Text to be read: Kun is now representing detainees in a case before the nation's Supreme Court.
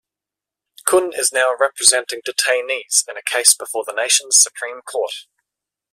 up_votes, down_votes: 2, 0